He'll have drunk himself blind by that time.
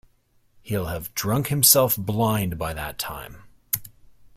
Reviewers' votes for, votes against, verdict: 2, 0, accepted